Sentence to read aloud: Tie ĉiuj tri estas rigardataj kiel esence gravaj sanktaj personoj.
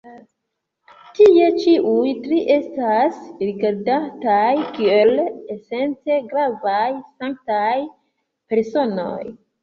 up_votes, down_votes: 2, 0